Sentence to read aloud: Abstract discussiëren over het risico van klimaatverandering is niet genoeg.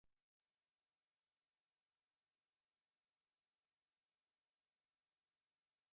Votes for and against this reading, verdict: 1, 2, rejected